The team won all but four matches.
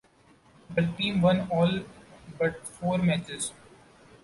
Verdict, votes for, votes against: accepted, 2, 0